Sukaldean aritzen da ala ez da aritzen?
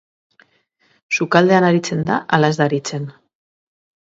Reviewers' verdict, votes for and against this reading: accepted, 4, 1